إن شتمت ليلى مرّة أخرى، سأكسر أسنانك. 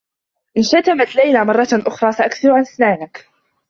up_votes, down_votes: 2, 0